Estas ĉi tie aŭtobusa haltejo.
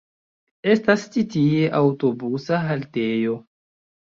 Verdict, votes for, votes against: accepted, 2, 1